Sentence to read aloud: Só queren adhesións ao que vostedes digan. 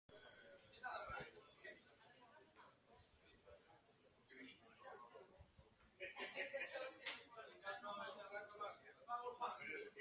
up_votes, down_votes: 0, 2